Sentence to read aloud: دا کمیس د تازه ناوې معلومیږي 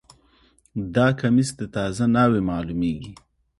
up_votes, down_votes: 2, 0